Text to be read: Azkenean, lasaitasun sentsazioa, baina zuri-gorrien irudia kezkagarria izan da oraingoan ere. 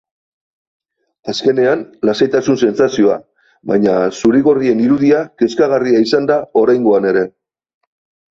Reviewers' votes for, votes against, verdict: 5, 0, accepted